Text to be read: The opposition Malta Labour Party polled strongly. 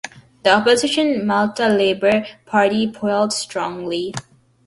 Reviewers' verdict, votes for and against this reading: accepted, 2, 1